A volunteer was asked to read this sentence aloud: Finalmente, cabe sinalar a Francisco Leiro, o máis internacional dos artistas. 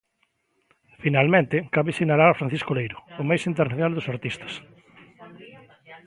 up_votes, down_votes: 1, 3